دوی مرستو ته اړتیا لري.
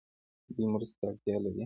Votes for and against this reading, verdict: 2, 0, accepted